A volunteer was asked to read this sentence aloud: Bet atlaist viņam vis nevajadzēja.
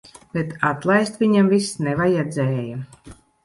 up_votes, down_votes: 2, 0